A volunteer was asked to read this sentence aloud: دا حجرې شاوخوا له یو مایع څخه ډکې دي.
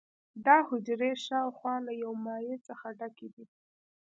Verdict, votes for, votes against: accepted, 2, 0